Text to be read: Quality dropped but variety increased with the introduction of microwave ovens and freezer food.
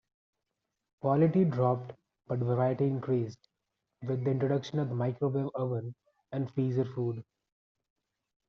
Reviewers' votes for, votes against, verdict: 1, 2, rejected